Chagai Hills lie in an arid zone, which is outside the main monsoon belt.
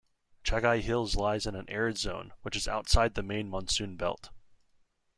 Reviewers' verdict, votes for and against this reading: rejected, 0, 2